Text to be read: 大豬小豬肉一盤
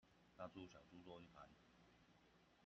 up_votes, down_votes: 0, 2